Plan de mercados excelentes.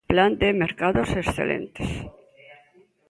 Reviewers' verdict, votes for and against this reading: rejected, 1, 2